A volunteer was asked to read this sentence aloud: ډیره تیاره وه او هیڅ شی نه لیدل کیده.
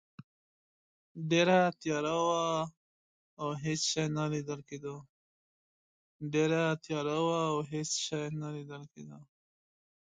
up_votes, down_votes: 1, 2